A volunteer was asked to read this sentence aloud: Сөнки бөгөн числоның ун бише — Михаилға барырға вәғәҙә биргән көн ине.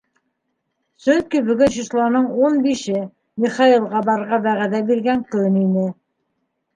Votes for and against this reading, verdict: 2, 1, accepted